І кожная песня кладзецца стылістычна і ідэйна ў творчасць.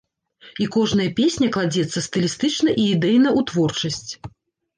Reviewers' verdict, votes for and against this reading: rejected, 0, 2